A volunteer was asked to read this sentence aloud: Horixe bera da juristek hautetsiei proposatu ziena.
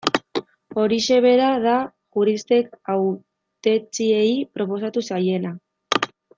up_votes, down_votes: 1, 2